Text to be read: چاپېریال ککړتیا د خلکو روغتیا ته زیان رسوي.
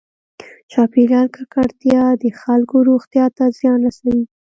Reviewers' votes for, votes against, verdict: 2, 0, accepted